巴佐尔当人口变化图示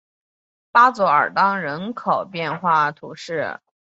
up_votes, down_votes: 5, 0